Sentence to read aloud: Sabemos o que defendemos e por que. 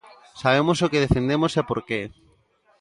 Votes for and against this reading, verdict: 2, 0, accepted